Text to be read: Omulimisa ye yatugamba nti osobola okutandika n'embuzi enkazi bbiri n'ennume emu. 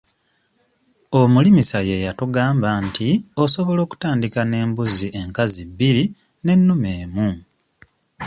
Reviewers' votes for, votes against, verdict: 2, 0, accepted